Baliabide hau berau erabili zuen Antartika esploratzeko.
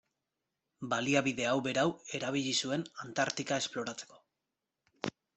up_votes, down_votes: 2, 1